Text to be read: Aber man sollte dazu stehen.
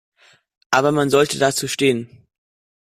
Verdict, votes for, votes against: accepted, 2, 0